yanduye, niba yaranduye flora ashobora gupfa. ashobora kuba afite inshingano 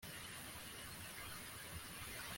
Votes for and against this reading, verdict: 0, 3, rejected